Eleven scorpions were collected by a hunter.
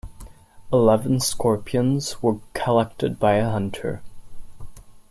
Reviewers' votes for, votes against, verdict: 2, 0, accepted